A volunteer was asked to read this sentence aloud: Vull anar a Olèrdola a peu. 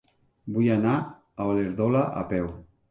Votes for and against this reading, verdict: 0, 3, rejected